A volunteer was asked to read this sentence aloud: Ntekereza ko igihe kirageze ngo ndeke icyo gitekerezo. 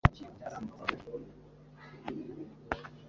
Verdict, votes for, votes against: rejected, 0, 2